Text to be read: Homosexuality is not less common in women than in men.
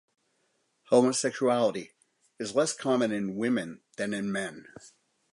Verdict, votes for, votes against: rejected, 0, 2